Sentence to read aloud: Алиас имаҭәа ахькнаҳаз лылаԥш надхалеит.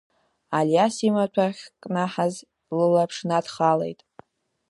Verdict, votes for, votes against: accepted, 2, 0